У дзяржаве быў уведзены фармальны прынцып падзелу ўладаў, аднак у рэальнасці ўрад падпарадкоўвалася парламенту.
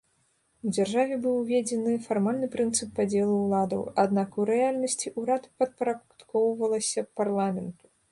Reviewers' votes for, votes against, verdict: 0, 2, rejected